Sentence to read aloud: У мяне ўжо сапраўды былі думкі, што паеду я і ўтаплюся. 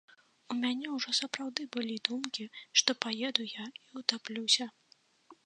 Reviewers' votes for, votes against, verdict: 2, 0, accepted